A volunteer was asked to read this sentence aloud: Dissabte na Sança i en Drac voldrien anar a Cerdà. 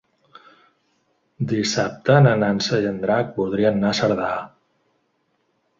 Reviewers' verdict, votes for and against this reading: rejected, 0, 2